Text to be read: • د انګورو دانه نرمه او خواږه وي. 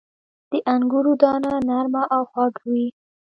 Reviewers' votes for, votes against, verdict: 0, 2, rejected